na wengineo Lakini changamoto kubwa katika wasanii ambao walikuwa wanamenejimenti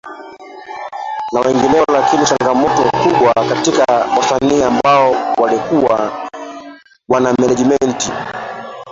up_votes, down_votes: 0, 3